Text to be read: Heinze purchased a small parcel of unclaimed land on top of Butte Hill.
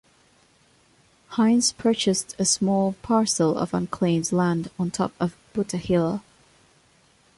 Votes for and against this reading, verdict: 1, 2, rejected